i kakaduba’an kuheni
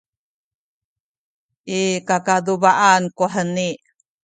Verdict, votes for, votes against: accepted, 2, 1